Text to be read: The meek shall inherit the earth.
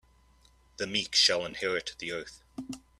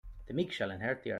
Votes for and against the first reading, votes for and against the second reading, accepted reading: 2, 0, 0, 2, first